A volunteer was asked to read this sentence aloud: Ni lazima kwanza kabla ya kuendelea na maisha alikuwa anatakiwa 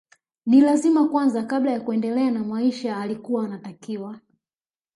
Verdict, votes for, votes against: rejected, 0, 2